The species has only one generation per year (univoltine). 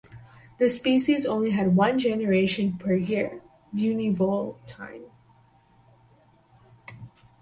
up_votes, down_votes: 0, 2